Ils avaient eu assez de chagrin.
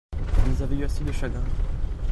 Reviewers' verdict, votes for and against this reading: rejected, 0, 2